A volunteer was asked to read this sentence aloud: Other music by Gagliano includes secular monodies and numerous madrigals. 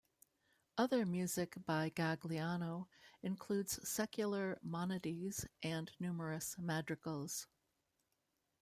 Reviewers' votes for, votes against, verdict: 0, 2, rejected